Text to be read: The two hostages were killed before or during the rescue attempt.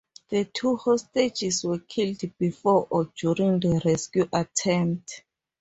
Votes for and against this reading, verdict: 2, 0, accepted